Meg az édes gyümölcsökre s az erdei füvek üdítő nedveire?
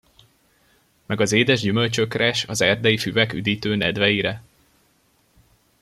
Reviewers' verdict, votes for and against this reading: accepted, 2, 0